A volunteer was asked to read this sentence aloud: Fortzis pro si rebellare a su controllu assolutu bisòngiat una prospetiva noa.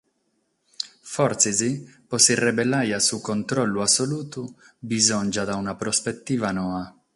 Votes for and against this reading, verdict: 6, 0, accepted